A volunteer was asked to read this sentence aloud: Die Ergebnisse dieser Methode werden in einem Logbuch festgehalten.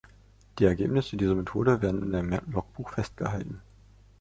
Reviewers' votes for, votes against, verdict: 0, 2, rejected